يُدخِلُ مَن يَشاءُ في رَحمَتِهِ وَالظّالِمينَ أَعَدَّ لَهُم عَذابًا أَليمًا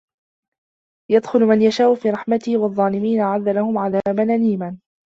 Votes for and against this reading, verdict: 1, 2, rejected